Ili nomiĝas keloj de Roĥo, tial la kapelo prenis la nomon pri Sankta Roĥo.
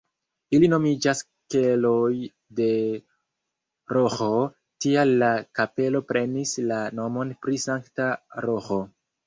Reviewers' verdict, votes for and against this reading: rejected, 1, 2